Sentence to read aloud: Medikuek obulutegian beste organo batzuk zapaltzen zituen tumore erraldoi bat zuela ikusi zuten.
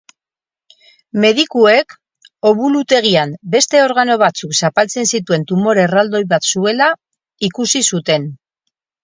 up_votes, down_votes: 4, 0